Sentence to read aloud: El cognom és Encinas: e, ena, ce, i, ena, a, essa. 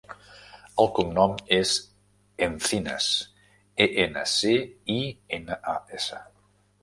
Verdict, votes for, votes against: rejected, 1, 2